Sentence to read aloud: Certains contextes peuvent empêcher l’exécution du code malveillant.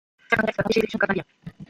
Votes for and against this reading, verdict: 0, 2, rejected